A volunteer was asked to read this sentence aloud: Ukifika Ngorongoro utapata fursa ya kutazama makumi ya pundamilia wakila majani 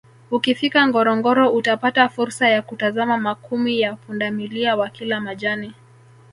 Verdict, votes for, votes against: rejected, 1, 2